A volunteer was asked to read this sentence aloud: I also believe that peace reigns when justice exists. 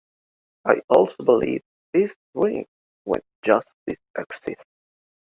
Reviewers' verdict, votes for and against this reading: rejected, 0, 2